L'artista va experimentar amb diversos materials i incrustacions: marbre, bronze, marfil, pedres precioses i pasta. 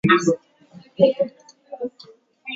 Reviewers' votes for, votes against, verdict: 0, 2, rejected